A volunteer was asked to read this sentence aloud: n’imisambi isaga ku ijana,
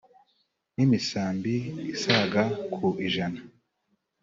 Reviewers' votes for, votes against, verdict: 3, 0, accepted